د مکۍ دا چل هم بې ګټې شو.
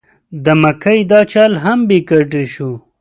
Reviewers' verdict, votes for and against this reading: accepted, 2, 0